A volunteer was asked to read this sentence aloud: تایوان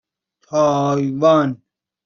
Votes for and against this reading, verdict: 2, 0, accepted